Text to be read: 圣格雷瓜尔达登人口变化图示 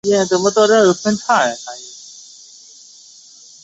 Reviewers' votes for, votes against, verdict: 4, 1, accepted